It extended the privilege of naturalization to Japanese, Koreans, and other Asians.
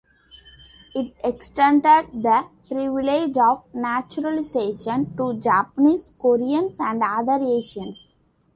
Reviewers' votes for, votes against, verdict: 2, 1, accepted